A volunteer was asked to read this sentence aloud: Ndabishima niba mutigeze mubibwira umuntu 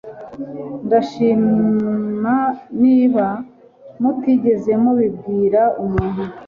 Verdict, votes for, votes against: rejected, 1, 2